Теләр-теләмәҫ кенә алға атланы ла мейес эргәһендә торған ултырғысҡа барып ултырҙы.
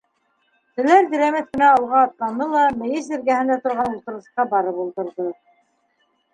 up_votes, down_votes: 1, 2